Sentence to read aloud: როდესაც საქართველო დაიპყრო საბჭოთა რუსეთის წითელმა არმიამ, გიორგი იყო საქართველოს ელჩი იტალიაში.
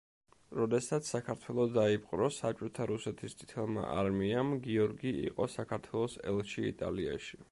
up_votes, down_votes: 0, 2